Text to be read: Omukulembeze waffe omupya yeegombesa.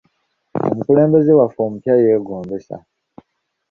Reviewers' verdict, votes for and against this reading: accepted, 2, 0